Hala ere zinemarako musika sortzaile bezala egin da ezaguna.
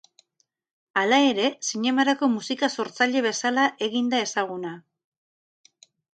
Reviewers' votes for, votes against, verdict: 0, 2, rejected